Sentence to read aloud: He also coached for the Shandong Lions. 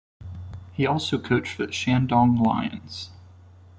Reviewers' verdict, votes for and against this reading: rejected, 1, 2